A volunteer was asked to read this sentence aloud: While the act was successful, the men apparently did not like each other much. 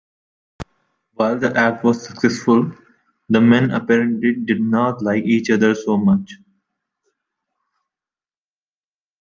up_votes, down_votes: 0, 2